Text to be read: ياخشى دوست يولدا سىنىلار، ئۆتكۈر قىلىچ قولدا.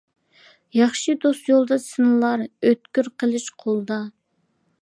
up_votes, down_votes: 2, 0